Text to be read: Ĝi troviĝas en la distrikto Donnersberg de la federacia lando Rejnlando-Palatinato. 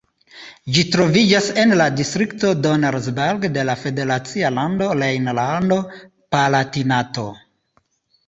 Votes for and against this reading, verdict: 2, 0, accepted